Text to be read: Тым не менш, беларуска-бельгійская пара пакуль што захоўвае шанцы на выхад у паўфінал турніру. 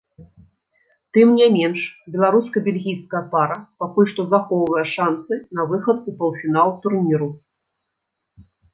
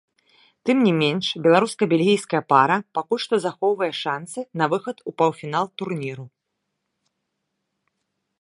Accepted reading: first